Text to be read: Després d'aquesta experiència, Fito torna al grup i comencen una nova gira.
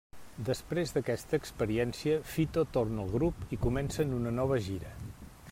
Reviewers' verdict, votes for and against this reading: accepted, 2, 0